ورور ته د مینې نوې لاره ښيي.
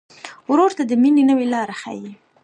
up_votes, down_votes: 2, 0